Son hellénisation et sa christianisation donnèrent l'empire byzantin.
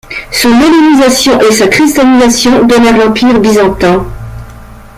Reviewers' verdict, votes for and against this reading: rejected, 0, 2